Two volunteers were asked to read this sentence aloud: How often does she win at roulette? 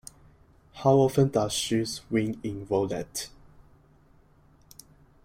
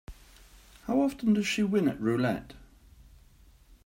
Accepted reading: second